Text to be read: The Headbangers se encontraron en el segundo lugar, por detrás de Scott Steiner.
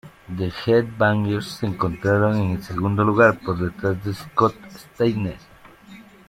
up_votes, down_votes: 2, 3